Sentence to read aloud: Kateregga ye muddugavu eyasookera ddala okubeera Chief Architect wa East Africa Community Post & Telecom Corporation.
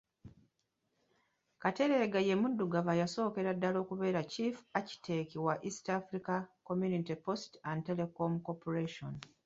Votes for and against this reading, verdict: 1, 2, rejected